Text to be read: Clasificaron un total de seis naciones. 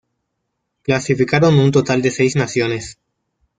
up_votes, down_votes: 2, 0